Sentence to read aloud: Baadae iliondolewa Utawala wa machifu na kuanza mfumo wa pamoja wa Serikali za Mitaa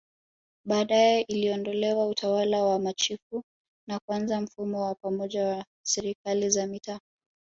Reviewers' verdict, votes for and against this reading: accepted, 5, 0